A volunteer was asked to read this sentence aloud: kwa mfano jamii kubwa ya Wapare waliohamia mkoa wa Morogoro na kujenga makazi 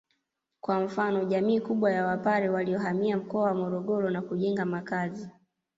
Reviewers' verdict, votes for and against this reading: accepted, 2, 1